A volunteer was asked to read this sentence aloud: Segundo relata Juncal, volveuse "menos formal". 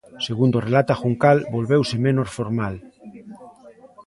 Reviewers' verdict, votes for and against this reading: accepted, 3, 0